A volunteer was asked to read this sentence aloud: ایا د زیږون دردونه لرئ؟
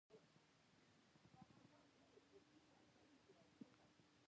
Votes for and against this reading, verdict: 1, 2, rejected